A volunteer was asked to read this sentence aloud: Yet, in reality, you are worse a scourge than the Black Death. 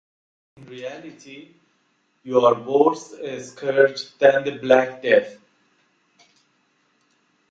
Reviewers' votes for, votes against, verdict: 0, 2, rejected